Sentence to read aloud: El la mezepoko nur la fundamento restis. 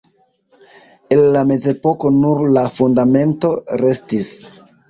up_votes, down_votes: 1, 2